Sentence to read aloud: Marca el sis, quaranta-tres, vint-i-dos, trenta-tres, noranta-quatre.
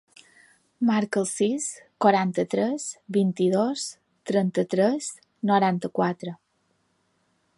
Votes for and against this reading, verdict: 2, 0, accepted